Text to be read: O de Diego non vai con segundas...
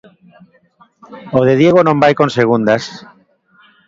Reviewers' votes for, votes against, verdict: 1, 2, rejected